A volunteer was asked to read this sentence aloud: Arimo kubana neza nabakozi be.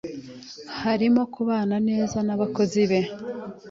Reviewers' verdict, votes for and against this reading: accepted, 3, 1